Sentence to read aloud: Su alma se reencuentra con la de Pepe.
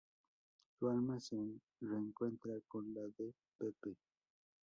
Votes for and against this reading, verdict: 0, 2, rejected